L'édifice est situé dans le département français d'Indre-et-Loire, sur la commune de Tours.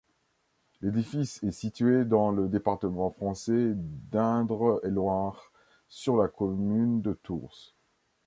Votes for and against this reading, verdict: 0, 2, rejected